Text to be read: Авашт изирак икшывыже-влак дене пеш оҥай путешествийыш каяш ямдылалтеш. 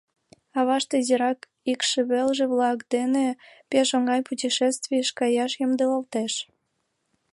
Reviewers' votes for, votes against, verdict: 1, 2, rejected